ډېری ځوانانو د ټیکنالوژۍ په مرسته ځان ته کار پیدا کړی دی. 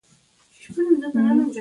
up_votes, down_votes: 0, 9